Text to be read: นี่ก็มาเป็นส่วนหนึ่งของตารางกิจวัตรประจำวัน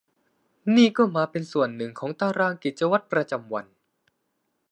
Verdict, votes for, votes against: accepted, 2, 0